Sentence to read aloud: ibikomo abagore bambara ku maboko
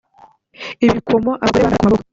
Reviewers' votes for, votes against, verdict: 0, 2, rejected